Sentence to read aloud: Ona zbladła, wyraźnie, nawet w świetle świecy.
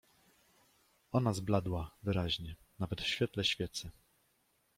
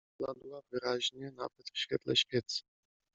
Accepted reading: first